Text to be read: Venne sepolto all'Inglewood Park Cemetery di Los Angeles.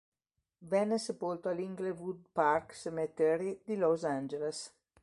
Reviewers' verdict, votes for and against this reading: accepted, 2, 0